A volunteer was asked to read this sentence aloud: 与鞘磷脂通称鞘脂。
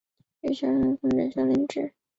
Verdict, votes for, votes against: rejected, 0, 2